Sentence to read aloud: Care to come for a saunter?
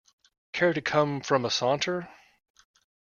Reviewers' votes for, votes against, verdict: 1, 2, rejected